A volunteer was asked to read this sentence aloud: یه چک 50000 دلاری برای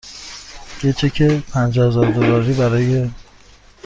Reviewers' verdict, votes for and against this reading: rejected, 0, 2